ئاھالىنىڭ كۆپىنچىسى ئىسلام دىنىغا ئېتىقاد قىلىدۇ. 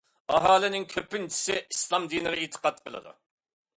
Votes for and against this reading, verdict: 2, 0, accepted